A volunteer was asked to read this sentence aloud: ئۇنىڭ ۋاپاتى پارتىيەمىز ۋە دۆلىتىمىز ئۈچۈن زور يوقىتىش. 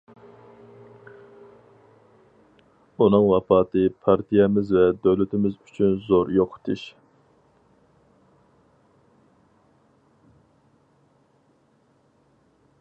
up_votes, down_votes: 4, 0